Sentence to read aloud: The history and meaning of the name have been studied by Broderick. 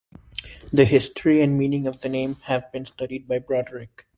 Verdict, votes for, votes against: accepted, 2, 0